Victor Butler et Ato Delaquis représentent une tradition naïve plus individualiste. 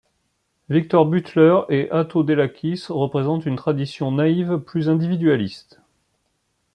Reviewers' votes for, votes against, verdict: 0, 2, rejected